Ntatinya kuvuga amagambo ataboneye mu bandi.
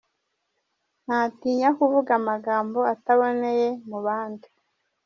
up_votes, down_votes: 1, 2